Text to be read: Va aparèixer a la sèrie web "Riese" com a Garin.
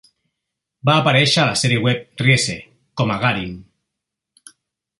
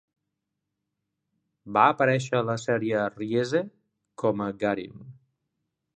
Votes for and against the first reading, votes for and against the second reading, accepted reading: 2, 0, 0, 2, first